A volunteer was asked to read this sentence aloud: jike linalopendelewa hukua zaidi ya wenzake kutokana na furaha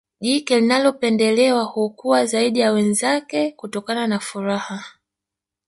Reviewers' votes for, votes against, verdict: 1, 2, rejected